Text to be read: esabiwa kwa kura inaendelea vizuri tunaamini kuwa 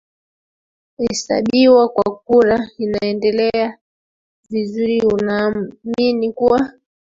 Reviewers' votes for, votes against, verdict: 0, 2, rejected